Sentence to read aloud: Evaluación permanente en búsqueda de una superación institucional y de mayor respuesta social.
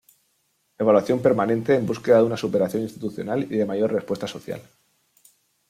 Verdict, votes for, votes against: accepted, 2, 0